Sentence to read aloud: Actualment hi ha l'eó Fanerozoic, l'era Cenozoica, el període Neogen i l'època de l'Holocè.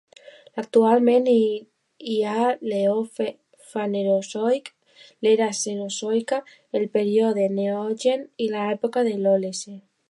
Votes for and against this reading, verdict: 0, 2, rejected